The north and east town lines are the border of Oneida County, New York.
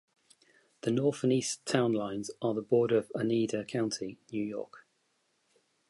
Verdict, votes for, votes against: accepted, 2, 1